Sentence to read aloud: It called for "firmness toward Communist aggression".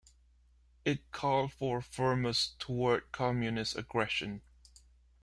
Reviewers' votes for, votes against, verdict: 0, 2, rejected